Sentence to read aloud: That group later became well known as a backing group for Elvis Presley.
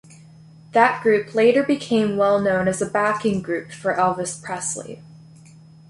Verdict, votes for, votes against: accepted, 2, 0